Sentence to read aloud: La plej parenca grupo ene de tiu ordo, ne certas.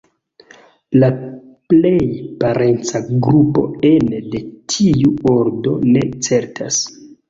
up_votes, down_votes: 2, 1